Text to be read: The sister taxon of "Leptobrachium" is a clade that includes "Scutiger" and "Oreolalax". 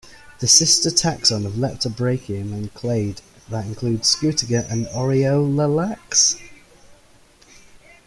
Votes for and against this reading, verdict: 0, 2, rejected